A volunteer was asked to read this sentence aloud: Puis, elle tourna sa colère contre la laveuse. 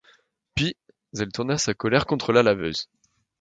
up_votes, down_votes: 1, 2